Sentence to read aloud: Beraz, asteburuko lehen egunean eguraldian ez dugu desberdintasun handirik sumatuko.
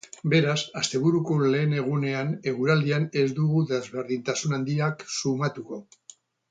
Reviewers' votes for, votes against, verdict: 2, 2, rejected